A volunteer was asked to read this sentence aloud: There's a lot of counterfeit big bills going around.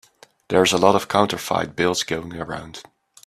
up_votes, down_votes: 0, 2